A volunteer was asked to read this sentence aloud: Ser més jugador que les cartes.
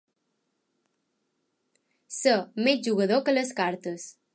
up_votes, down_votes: 2, 0